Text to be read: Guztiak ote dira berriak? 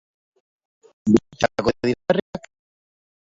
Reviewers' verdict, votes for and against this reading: rejected, 0, 2